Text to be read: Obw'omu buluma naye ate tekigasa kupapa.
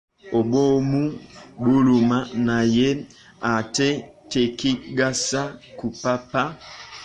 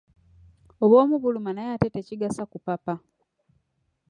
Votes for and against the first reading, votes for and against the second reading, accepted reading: 1, 2, 2, 1, second